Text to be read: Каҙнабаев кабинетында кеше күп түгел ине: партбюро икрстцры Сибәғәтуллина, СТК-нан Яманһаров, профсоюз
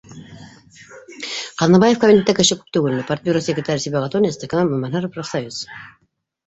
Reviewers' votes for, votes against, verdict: 0, 2, rejected